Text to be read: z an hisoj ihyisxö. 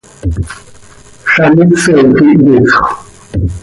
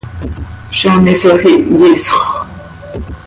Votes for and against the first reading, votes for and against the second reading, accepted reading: 1, 2, 2, 0, second